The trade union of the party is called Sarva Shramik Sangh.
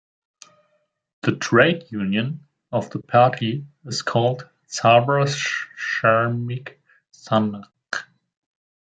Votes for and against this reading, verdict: 2, 1, accepted